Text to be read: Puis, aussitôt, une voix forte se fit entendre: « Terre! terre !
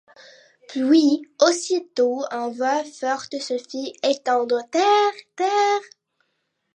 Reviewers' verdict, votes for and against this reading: accepted, 2, 1